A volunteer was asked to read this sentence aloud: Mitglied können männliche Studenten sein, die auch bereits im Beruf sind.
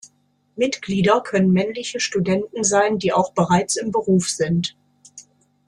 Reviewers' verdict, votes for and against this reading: rejected, 0, 2